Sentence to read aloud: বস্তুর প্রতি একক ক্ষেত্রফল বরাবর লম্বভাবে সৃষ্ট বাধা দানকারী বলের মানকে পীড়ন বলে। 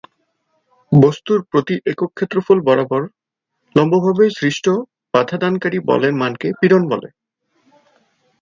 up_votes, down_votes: 2, 0